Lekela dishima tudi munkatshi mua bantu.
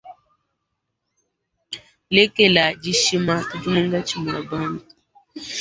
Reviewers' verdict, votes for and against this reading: rejected, 0, 2